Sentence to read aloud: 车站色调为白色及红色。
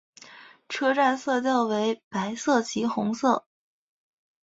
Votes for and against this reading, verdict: 6, 0, accepted